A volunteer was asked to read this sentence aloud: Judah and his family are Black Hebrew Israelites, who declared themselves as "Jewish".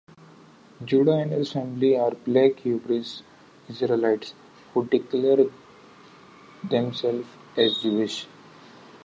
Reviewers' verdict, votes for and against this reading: rejected, 0, 2